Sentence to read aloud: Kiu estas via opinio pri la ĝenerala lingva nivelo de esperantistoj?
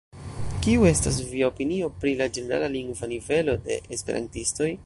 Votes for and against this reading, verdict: 0, 2, rejected